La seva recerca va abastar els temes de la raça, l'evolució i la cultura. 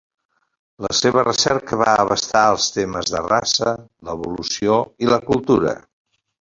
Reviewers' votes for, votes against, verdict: 2, 0, accepted